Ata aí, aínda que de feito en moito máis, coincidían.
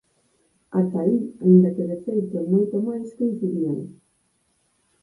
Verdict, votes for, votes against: accepted, 4, 0